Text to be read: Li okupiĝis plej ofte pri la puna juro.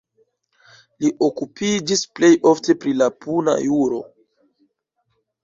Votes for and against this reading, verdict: 2, 0, accepted